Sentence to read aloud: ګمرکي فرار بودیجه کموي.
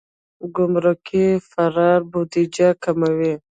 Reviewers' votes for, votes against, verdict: 2, 1, accepted